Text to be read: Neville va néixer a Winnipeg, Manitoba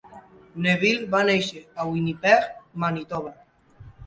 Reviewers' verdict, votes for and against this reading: accepted, 2, 0